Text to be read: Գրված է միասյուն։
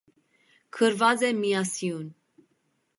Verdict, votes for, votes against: accepted, 2, 1